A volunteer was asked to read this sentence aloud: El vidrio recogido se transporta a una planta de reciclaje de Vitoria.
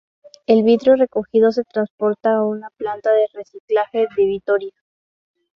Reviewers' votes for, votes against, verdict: 2, 0, accepted